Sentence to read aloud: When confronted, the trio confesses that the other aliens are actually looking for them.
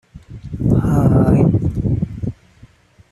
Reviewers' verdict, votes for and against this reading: rejected, 0, 2